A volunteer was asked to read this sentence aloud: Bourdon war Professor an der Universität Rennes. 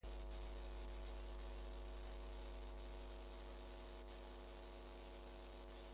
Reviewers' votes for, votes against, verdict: 0, 2, rejected